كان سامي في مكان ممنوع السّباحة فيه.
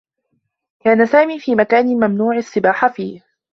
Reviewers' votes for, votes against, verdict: 2, 1, accepted